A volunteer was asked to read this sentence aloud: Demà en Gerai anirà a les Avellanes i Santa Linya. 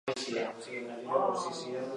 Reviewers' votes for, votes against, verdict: 1, 2, rejected